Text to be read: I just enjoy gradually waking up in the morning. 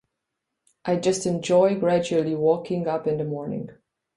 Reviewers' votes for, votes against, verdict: 0, 2, rejected